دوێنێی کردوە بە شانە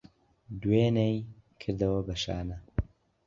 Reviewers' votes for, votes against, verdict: 2, 1, accepted